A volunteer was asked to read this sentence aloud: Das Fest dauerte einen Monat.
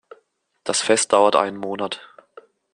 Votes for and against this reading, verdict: 2, 0, accepted